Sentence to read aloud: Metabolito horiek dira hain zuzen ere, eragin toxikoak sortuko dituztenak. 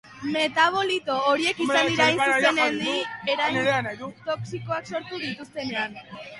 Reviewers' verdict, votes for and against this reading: rejected, 0, 3